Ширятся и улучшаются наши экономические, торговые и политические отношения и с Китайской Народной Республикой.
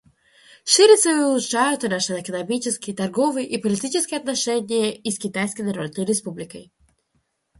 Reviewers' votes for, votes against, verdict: 1, 2, rejected